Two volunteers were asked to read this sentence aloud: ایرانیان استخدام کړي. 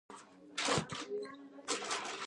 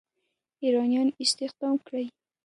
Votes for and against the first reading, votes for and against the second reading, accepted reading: 0, 2, 2, 0, second